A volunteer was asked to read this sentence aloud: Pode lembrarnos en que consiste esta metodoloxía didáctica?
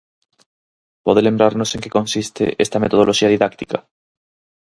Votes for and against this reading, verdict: 4, 0, accepted